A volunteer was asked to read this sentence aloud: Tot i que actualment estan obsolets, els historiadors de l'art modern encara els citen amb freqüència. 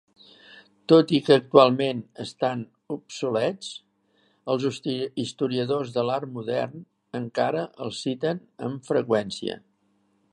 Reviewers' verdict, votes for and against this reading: rejected, 0, 4